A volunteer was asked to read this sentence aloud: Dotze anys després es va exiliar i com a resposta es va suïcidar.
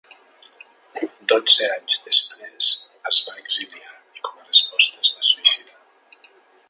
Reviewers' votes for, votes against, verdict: 2, 0, accepted